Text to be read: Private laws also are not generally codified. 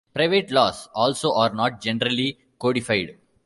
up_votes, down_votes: 2, 1